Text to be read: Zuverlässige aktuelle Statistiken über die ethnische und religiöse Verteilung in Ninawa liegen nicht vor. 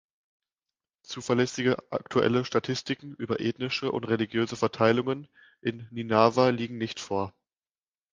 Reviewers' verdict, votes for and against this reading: rejected, 0, 2